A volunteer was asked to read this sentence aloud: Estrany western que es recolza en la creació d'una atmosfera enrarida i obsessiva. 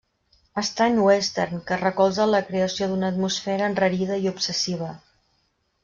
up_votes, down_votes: 2, 0